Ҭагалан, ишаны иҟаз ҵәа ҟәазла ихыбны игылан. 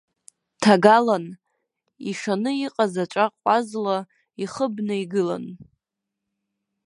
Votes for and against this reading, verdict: 0, 2, rejected